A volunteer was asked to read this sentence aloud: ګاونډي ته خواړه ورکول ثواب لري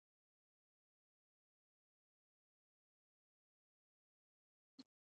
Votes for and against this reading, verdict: 0, 3, rejected